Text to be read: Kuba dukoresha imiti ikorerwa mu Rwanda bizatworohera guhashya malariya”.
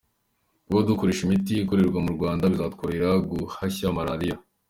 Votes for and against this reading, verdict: 2, 0, accepted